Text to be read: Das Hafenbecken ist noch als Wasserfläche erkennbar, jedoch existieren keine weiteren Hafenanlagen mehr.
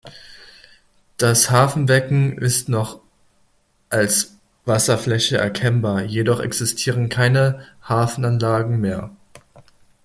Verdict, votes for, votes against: rejected, 0, 2